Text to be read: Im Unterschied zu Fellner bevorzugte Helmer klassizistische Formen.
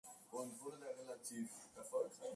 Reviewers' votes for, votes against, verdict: 0, 2, rejected